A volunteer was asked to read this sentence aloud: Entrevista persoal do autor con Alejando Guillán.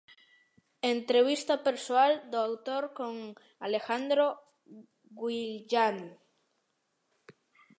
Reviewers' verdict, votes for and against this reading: rejected, 0, 2